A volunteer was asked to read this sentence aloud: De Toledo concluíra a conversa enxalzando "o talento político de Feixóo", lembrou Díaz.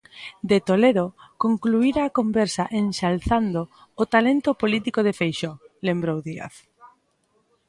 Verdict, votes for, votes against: accepted, 2, 0